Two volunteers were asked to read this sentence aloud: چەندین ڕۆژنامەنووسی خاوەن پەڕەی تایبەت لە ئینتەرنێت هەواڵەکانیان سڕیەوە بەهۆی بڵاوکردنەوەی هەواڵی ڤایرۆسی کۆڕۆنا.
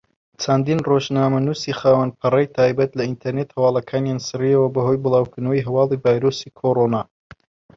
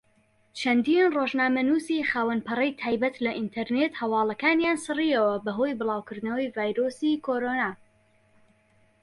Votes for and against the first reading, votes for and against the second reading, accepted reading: 2, 1, 0, 2, first